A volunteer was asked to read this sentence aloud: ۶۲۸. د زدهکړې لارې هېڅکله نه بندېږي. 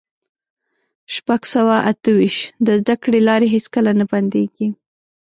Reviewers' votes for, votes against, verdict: 0, 2, rejected